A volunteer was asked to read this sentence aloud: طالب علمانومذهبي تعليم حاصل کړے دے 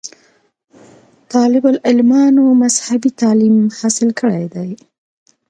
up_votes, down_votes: 2, 0